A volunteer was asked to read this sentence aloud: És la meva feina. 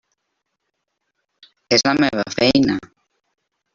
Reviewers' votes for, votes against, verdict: 3, 0, accepted